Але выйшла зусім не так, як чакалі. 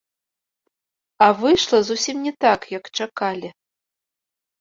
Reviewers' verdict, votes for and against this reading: rejected, 0, 2